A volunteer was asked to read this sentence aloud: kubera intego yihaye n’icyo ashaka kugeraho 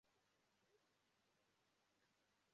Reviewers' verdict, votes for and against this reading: rejected, 0, 2